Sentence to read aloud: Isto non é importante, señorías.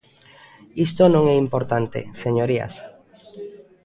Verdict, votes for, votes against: rejected, 1, 2